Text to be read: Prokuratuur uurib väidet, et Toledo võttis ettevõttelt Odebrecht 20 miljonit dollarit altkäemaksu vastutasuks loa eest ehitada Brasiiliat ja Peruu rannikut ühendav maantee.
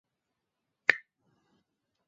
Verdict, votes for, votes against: rejected, 0, 2